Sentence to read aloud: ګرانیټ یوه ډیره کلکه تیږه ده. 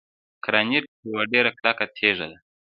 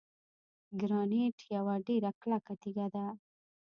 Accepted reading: first